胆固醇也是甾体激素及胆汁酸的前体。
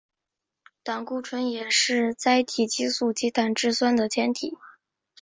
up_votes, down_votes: 4, 0